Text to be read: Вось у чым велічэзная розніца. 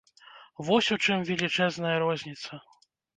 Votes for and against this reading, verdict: 2, 0, accepted